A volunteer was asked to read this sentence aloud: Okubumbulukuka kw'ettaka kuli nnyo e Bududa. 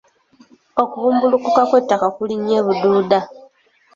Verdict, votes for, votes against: accepted, 3, 0